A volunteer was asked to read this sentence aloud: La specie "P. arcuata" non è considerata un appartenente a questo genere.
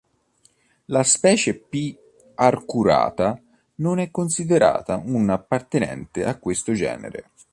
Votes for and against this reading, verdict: 0, 2, rejected